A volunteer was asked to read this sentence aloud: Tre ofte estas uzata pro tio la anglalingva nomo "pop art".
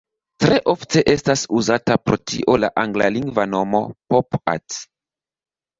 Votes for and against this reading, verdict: 1, 2, rejected